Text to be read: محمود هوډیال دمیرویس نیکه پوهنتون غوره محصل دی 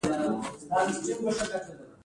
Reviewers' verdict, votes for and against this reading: accepted, 2, 1